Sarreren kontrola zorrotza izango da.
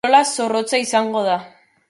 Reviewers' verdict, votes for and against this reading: rejected, 0, 4